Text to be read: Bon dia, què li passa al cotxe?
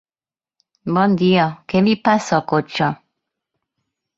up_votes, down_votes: 2, 0